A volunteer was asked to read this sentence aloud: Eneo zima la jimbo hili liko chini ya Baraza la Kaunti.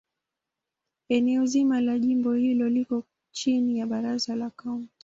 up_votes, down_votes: 2, 0